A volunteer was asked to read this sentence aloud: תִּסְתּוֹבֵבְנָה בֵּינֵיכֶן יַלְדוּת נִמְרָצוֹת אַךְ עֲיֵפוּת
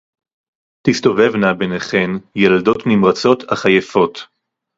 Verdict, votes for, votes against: accepted, 2, 0